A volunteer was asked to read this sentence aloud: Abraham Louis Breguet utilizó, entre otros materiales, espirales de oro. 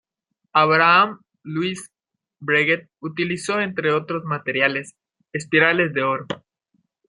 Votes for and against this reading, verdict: 2, 0, accepted